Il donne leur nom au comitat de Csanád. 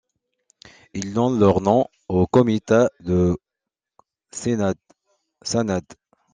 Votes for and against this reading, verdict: 0, 2, rejected